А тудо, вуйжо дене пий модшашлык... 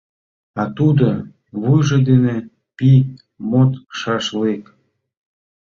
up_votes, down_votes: 2, 1